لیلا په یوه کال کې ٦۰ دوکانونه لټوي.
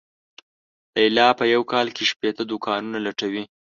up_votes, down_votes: 0, 2